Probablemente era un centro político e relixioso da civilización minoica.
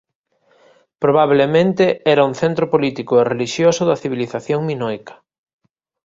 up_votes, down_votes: 2, 0